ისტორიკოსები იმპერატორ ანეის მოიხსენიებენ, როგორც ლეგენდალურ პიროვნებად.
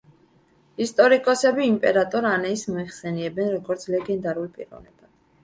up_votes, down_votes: 2, 1